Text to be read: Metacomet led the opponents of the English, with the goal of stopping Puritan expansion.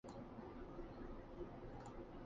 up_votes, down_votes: 0, 2